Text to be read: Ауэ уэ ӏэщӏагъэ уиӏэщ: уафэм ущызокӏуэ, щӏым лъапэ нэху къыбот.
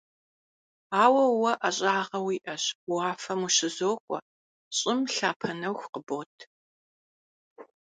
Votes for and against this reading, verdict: 2, 0, accepted